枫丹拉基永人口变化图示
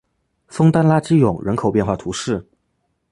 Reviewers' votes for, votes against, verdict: 2, 0, accepted